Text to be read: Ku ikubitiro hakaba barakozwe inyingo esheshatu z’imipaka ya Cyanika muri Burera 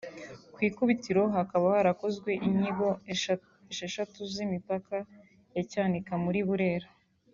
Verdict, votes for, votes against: rejected, 1, 2